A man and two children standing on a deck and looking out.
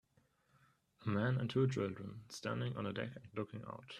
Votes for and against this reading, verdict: 1, 2, rejected